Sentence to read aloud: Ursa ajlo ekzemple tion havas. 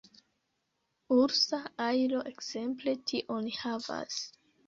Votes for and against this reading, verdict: 2, 1, accepted